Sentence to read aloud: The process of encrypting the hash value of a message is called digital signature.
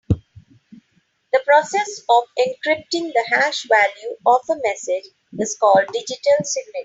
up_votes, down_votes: 0, 3